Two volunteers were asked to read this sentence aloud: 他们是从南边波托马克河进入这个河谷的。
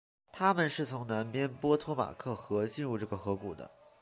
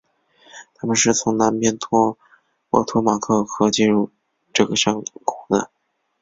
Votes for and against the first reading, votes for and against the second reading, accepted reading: 2, 0, 1, 2, first